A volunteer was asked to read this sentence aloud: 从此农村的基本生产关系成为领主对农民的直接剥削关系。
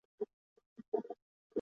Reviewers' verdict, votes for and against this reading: rejected, 0, 2